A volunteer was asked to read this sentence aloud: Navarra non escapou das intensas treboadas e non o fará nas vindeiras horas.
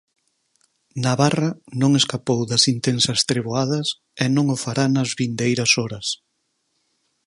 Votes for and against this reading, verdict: 4, 0, accepted